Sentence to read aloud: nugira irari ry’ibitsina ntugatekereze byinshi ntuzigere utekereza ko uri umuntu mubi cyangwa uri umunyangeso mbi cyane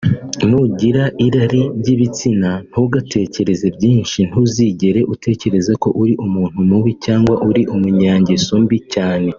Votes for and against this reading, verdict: 1, 2, rejected